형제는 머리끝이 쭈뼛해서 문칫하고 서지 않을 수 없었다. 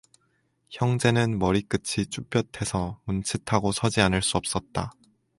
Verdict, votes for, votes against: accepted, 4, 0